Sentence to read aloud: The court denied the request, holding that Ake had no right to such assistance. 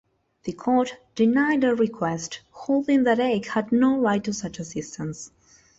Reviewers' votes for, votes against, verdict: 2, 0, accepted